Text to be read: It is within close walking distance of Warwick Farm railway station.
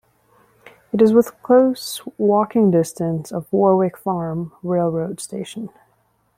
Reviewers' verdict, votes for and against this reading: rejected, 0, 2